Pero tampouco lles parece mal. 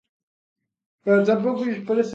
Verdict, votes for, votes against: rejected, 0, 2